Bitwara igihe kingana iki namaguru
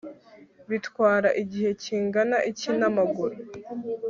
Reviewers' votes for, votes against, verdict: 3, 0, accepted